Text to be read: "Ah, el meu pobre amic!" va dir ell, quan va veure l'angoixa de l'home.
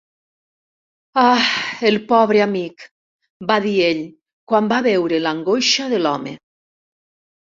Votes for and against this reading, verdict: 0, 2, rejected